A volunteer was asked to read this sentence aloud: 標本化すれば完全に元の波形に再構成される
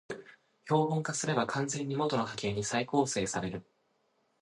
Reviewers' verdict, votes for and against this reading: accepted, 2, 1